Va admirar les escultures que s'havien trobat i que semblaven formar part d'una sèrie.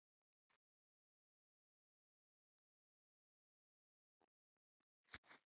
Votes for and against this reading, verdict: 0, 2, rejected